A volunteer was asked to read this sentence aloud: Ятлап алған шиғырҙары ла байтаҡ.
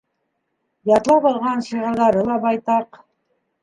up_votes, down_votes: 2, 0